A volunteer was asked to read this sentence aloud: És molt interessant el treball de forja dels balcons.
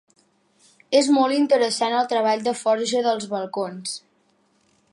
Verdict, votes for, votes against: accepted, 4, 0